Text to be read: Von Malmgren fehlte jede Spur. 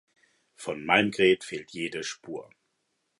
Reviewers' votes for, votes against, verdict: 0, 2, rejected